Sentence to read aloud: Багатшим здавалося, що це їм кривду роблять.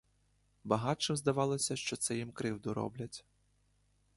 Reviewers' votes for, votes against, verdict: 2, 0, accepted